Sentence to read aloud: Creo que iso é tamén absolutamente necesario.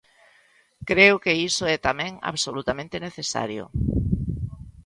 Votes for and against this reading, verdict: 2, 0, accepted